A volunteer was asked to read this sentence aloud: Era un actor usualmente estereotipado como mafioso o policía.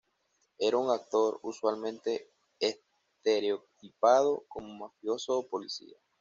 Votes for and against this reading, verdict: 2, 1, accepted